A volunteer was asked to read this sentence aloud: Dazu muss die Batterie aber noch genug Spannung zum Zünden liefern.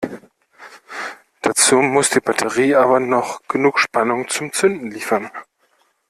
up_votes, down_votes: 0, 2